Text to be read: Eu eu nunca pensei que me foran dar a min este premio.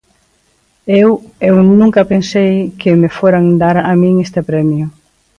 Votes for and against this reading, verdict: 2, 1, accepted